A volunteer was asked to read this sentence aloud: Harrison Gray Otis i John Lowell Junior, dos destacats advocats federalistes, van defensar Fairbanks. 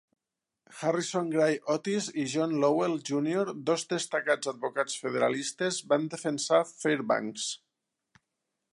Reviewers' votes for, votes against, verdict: 3, 0, accepted